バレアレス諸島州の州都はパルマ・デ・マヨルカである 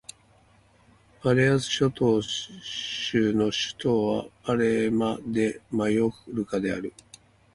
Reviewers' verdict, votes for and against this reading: rejected, 0, 2